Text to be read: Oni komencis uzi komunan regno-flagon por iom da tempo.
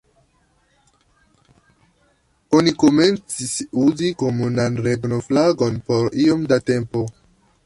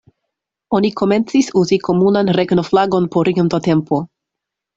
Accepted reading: second